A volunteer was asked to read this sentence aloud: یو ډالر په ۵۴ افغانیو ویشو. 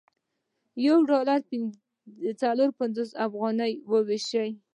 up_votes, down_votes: 0, 2